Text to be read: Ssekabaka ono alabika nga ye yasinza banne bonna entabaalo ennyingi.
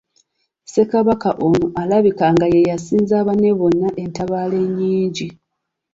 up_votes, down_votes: 2, 0